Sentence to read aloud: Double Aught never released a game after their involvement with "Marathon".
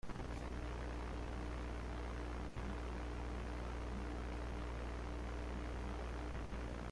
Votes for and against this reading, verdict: 0, 2, rejected